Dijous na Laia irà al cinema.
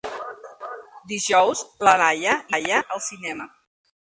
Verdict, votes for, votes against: rejected, 0, 2